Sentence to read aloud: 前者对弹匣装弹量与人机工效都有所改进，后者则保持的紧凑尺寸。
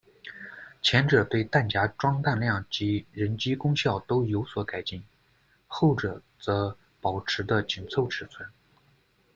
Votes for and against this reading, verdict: 0, 2, rejected